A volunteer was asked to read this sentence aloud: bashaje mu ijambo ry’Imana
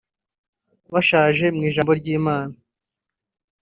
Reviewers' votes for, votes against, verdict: 1, 2, rejected